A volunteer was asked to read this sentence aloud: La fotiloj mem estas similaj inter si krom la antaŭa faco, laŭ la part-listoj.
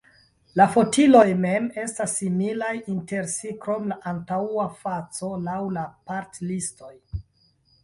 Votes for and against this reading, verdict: 0, 2, rejected